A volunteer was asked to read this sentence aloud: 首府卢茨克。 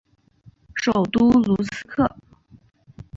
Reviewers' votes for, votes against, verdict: 0, 2, rejected